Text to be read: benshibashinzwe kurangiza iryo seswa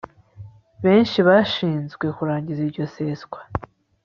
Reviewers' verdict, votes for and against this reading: accepted, 2, 0